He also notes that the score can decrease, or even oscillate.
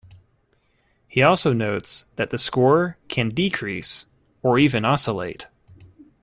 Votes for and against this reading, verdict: 2, 0, accepted